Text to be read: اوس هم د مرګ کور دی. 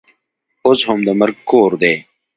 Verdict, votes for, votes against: accepted, 2, 0